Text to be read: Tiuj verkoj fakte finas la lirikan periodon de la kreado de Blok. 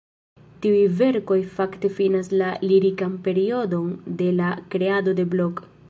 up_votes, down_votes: 0, 2